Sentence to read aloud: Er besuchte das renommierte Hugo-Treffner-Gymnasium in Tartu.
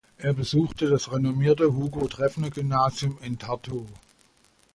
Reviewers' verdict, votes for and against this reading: accepted, 2, 0